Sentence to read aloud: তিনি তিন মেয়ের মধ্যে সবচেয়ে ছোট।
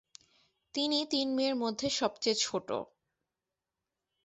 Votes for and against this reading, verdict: 8, 0, accepted